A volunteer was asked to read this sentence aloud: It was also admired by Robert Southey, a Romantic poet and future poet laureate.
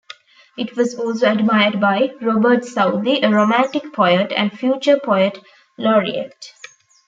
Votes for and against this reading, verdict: 2, 0, accepted